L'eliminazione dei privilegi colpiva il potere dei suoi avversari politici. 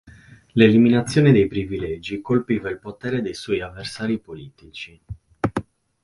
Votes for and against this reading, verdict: 6, 0, accepted